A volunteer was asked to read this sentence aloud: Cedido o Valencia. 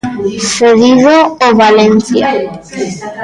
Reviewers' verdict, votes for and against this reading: accepted, 2, 0